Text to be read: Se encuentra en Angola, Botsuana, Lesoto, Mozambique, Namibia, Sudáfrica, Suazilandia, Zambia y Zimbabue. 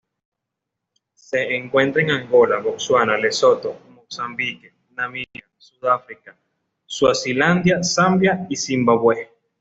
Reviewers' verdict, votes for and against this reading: accepted, 2, 0